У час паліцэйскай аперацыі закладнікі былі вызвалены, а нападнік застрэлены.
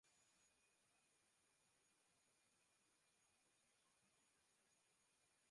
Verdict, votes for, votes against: rejected, 0, 2